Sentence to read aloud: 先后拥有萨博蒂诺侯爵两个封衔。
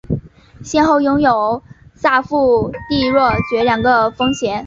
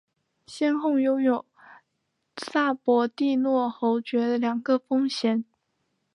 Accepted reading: second